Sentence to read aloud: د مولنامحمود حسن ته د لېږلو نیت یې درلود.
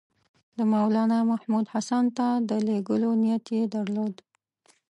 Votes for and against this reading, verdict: 2, 0, accepted